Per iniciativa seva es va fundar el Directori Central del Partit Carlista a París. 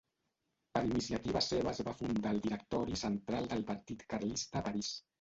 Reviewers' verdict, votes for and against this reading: rejected, 1, 2